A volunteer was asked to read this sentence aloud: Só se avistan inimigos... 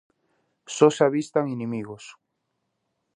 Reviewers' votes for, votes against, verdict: 2, 0, accepted